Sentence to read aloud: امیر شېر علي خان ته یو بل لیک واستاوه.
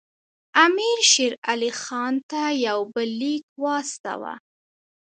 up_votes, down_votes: 2, 1